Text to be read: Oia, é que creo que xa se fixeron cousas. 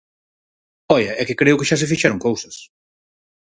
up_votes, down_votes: 4, 0